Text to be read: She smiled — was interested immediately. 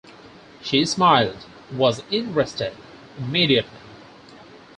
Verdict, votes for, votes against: rejected, 2, 4